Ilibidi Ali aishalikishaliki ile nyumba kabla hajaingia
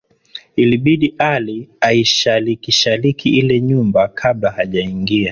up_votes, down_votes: 4, 1